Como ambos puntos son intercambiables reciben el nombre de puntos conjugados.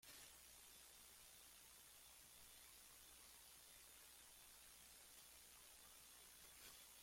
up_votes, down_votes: 0, 2